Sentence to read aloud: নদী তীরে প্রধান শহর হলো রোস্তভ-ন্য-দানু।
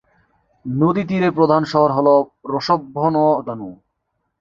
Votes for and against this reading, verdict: 1, 3, rejected